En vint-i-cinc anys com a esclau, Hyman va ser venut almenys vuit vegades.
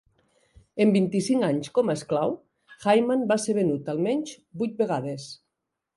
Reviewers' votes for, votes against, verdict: 2, 0, accepted